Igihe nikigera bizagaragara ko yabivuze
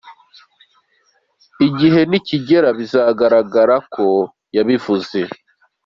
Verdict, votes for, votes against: accepted, 2, 0